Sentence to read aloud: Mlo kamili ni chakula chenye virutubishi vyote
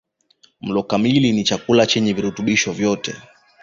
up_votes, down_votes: 2, 0